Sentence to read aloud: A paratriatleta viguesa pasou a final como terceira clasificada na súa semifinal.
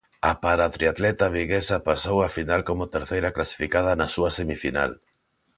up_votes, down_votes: 2, 0